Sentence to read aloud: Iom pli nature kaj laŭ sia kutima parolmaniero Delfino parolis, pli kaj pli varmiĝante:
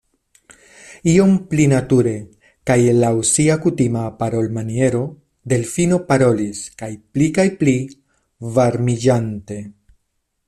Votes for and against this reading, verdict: 0, 2, rejected